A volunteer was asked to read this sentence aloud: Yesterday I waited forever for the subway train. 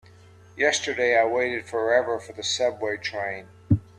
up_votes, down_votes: 2, 0